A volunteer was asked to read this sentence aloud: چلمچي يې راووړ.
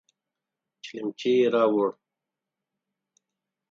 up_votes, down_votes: 8, 0